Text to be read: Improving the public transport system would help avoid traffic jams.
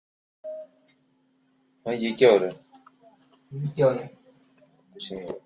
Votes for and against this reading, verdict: 0, 2, rejected